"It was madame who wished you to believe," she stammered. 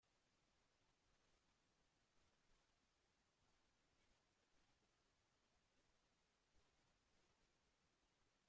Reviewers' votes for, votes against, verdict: 0, 2, rejected